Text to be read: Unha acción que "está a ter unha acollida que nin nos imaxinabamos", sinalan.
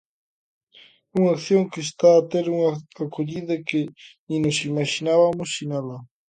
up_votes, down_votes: 0, 2